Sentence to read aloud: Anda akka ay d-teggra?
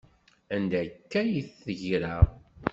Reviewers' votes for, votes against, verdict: 2, 0, accepted